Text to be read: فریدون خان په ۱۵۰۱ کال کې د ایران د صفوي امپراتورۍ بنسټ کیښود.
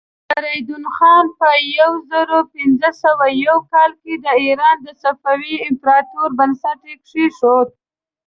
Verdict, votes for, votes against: rejected, 0, 2